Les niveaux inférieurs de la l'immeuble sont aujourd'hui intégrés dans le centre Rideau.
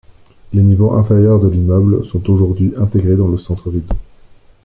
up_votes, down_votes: 1, 2